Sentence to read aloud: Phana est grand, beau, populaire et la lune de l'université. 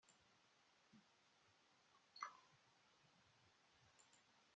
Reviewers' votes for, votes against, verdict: 0, 2, rejected